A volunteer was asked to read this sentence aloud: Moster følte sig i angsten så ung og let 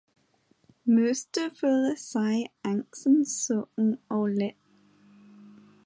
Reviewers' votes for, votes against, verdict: 0, 2, rejected